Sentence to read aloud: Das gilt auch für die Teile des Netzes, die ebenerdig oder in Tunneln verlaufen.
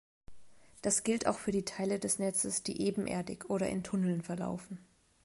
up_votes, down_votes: 2, 0